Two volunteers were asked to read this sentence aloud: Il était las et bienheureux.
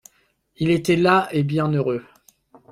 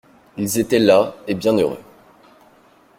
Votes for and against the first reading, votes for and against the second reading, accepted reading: 2, 0, 0, 2, first